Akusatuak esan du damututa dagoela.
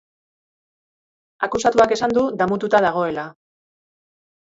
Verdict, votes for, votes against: accepted, 2, 1